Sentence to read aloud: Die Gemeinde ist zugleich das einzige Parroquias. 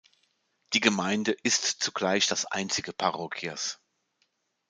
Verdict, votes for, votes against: accepted, 2, 0